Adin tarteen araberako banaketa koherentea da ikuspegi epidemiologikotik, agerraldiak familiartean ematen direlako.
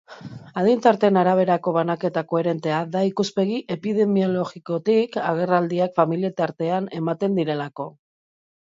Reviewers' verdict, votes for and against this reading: rejected, 0, 2